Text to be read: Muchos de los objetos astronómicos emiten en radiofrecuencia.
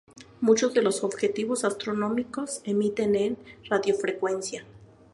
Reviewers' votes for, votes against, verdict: 2, 2, rejected